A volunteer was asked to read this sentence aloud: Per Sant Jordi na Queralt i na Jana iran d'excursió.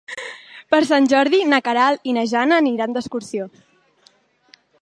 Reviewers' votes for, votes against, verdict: 0, 2, rejected